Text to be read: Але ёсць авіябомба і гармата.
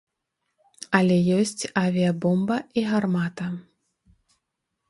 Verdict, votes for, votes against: accepted, 2, 0